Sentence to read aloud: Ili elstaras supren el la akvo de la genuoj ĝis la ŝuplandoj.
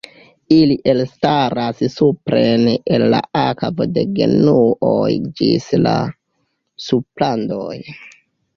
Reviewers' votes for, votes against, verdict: 0, 2, rejected